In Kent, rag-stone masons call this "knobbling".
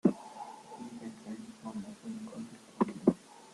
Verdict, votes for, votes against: rejected, 0, 2